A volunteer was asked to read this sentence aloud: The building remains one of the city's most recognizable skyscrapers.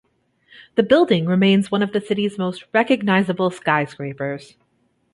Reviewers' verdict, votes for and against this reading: accepted, 2, 0